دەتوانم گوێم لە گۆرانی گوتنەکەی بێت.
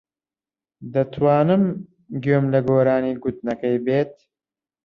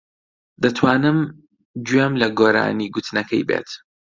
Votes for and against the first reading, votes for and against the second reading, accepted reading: 1, 2, 2, 0, second